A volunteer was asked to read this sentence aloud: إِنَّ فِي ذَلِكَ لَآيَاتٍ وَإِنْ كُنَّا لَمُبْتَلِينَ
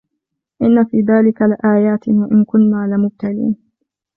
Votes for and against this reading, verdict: 2, 0, accepted